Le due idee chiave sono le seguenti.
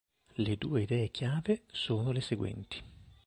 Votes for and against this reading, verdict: 2, 0, accepted